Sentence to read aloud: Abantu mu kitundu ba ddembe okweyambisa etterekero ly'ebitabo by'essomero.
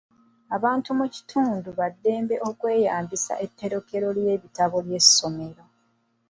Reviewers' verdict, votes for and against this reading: rejected, 0, 2